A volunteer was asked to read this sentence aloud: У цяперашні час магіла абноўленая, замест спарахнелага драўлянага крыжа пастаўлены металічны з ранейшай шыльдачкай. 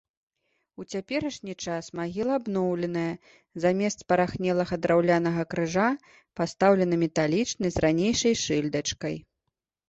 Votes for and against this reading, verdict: 2, 0, accepted